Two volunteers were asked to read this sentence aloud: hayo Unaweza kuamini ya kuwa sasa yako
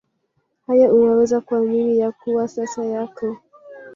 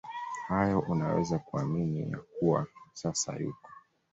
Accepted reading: first